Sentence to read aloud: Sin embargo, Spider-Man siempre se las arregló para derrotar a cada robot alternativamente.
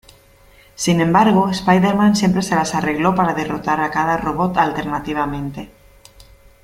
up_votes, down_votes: 2, 0